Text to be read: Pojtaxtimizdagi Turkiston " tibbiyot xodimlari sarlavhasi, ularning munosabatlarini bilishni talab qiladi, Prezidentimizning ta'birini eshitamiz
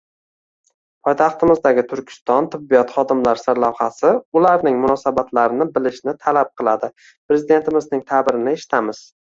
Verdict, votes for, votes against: rejected, 0, 2